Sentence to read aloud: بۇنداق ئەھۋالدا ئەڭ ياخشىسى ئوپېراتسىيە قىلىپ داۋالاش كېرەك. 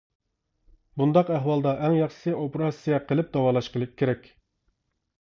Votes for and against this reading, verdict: 0, 2, rejected